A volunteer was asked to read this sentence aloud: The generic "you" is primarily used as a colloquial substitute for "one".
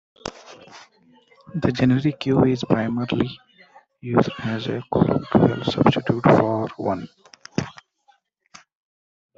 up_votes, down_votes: 0, 2